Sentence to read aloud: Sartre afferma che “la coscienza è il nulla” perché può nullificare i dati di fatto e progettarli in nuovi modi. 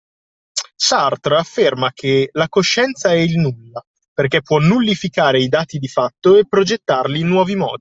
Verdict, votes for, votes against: accepted, 2, 0